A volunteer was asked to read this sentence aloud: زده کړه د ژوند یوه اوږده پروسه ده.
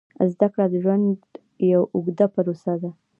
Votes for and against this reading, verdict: 2, 1, accepted